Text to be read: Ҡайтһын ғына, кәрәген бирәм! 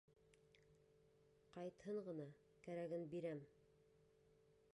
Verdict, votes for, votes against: rejected, 0, 2